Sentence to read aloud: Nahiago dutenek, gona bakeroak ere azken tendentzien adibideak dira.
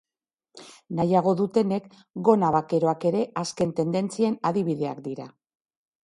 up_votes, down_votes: 3, 0